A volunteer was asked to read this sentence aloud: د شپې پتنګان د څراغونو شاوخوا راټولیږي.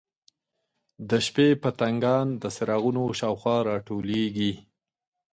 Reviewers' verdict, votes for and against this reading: accepted, 2, 0